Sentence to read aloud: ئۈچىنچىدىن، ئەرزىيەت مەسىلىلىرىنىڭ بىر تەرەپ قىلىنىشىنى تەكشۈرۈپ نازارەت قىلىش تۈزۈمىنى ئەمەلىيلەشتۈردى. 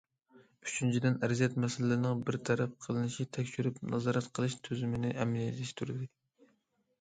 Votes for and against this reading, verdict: 0, 2, rejected